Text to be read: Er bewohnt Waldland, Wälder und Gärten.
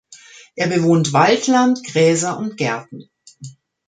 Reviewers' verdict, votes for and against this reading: rejected, 0, 2